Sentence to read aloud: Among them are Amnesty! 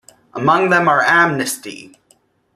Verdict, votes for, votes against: accepted, 2, 0